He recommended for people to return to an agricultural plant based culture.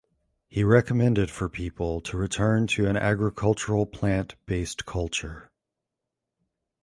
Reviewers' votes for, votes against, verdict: 2, 0, accepted